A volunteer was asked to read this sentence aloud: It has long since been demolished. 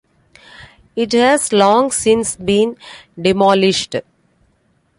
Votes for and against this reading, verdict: 2, 1, accepted